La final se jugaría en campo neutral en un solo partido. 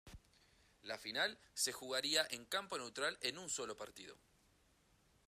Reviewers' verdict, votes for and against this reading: accepted, 2, 0